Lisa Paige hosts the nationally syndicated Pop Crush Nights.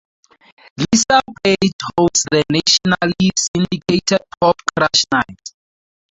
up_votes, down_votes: 0, 4